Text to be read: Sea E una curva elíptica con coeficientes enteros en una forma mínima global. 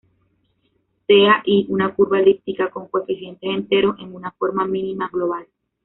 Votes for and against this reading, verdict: 0, 2, rejected